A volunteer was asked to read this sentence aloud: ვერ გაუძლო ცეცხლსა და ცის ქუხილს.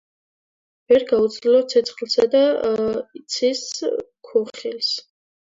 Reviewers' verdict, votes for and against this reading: rejected, 1, 2